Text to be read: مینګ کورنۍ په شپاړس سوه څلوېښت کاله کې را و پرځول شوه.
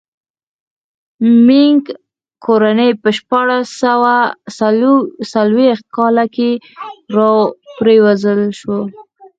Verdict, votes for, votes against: rejected, 2, 4